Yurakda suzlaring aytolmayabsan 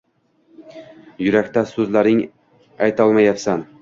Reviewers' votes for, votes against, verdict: 1, 2, rejected